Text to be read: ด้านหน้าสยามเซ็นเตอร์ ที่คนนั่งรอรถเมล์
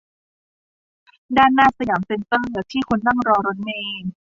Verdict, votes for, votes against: rejected, 0, 2